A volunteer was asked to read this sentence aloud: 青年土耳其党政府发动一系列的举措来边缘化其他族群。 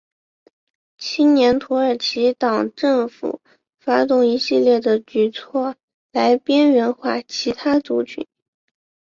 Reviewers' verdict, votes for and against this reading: accepted, 2, 1